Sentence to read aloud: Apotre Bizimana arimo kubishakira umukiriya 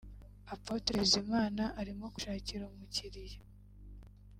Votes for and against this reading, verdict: 2, 0, accepted